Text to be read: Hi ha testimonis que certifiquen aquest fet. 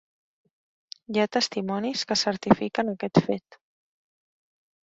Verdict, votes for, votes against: accepted, 2, 0